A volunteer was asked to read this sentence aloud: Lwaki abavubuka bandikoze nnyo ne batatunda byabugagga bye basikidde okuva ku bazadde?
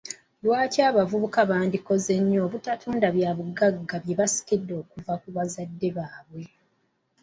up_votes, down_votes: 0, 2